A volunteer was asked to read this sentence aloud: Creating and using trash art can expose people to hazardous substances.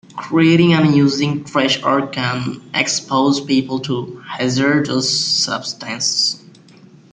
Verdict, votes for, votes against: accepted, 2, 0